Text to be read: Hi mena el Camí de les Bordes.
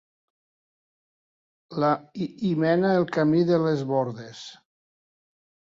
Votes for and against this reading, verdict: 0, 2, rejected